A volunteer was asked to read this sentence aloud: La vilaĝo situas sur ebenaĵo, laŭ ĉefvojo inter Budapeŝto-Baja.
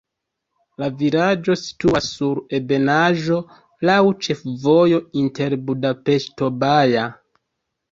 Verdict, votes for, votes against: rejected, 1, 2